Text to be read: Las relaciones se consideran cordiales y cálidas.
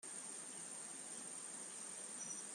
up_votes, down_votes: 0, 2